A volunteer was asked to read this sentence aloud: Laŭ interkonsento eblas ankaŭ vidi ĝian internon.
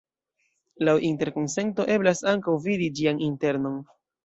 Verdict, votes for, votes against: rejected, 0, 2